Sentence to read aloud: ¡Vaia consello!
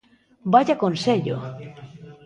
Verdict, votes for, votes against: accepted, 2, 1